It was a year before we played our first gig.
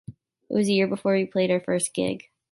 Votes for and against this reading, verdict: 2, 0, accepted